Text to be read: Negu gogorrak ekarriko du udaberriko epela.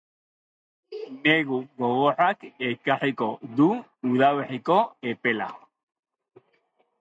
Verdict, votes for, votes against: accepted, 2, 1